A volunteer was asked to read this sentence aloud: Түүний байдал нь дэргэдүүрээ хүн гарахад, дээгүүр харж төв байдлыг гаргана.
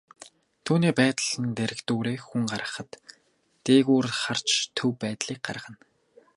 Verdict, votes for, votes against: rejected, 0, 2